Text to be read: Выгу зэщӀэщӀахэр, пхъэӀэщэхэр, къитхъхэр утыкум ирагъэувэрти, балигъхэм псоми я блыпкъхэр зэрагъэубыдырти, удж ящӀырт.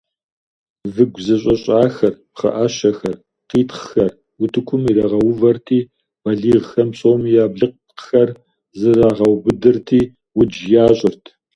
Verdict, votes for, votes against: accepted, 2, 0